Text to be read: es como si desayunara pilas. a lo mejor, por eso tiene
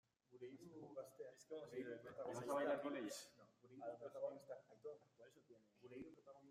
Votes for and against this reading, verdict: 0, 2, rejected